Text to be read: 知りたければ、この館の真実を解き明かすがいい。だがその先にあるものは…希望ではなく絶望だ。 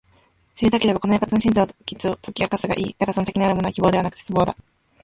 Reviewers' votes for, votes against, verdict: 1, 2, rejected